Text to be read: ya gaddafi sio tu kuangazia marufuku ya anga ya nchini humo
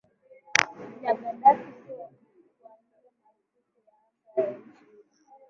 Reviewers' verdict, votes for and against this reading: rejected, 0, 2